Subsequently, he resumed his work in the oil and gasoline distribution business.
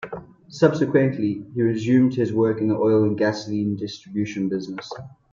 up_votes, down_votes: 2, 0